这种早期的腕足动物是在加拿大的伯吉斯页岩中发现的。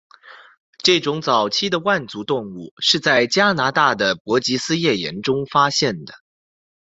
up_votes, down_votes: 2, 0